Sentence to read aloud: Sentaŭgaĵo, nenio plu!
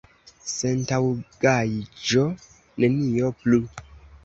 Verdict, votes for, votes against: accepted, 2, 1